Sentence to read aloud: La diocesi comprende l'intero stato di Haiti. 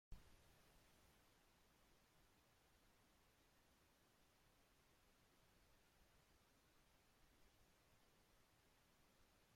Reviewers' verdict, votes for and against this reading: rejected, 0, 2